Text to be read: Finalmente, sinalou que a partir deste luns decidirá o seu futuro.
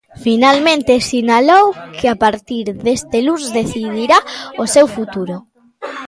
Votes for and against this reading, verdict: 1, 2, rejected